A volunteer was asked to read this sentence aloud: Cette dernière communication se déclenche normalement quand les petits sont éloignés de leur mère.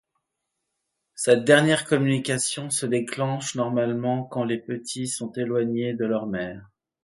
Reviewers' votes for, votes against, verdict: 2, 0, accepted